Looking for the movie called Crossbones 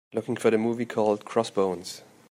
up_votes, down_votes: 2, 0